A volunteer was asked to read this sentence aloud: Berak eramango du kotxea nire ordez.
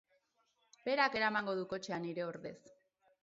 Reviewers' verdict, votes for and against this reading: accepted, 4, 0